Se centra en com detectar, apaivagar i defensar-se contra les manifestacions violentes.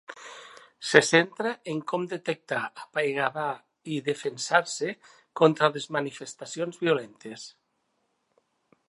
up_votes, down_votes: 1, 2